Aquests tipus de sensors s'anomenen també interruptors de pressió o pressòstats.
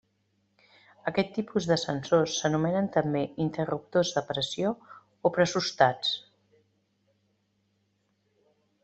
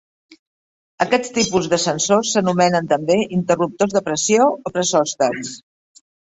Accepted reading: second